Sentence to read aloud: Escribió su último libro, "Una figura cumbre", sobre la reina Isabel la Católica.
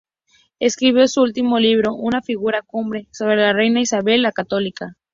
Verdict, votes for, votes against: accepted, 4, 0